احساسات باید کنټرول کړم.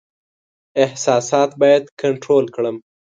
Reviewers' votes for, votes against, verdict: 2, 0, accepted